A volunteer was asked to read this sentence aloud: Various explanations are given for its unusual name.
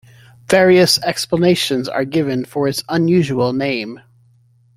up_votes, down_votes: 2, 0